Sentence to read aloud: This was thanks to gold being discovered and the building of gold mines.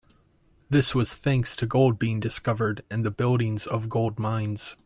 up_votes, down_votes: 0, 2